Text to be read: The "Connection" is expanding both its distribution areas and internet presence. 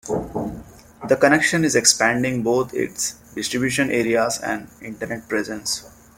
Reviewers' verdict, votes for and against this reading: accepted, 2, 0